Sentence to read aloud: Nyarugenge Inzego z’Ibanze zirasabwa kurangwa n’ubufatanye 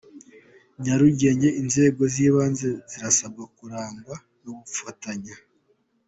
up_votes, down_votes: 2, 0